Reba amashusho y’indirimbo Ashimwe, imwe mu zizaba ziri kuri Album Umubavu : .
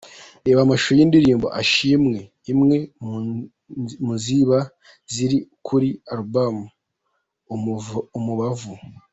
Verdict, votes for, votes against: rejected, 0, 2